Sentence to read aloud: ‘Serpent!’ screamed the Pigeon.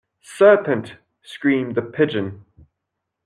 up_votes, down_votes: 2, 0